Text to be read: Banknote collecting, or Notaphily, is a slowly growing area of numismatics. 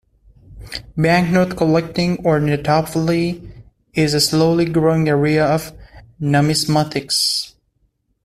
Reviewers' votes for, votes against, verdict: 2, 1, accepted